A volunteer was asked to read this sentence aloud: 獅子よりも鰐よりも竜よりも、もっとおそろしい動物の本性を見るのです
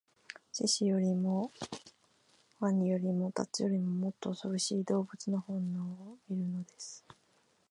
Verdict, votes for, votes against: rejected, 0, 2